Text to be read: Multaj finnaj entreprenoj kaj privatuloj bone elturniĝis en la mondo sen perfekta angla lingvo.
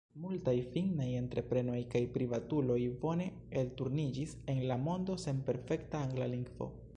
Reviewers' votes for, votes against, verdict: 1, 2, rejected